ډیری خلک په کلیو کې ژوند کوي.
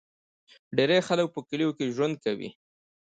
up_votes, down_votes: 2, 0